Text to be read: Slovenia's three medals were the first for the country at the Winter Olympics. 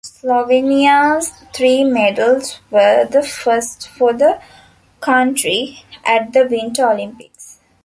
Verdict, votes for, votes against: accepted, 2, 0